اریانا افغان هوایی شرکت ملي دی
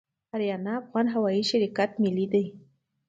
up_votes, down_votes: 2, 0